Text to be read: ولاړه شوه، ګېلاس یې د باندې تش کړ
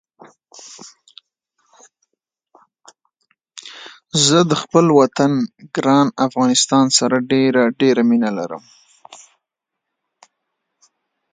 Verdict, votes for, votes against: rejected, 0, 2